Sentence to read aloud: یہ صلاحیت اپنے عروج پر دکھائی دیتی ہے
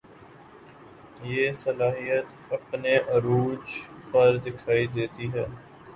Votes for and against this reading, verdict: 4, 0, accepted